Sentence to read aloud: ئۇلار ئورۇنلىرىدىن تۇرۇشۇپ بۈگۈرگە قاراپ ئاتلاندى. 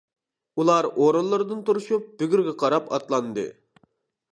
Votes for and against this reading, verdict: 2, 0, accepted